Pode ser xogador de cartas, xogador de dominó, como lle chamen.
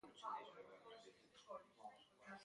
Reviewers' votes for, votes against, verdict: 0, 2, rejected